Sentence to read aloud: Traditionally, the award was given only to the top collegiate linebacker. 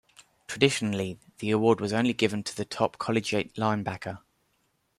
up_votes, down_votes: 1, 2